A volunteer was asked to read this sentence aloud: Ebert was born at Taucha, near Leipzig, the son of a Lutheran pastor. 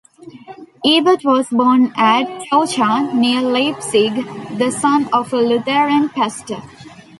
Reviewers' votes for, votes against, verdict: 1, 2, rejected